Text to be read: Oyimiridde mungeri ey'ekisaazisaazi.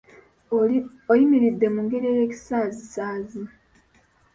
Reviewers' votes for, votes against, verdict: 0, 2, rejected